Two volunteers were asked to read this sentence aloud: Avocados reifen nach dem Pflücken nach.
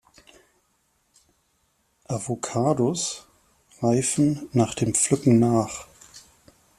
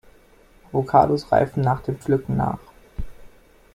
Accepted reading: first